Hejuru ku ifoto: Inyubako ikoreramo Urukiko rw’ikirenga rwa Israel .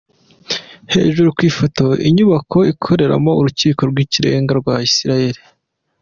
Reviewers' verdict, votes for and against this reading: accepted, 2, 0